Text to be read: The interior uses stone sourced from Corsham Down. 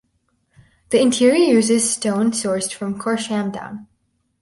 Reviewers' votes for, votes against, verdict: 2, 4, rejected